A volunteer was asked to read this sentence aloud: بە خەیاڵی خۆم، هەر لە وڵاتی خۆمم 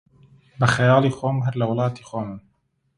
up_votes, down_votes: 2, 0